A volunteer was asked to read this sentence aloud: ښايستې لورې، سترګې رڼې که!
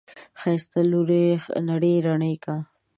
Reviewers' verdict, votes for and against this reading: rejected, 1, 2